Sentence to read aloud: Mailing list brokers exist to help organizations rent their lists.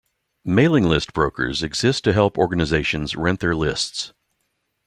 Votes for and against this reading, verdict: 2, 0, accepted